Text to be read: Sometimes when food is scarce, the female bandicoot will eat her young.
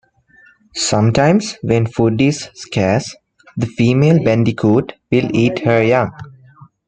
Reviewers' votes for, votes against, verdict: 2, 1, accepted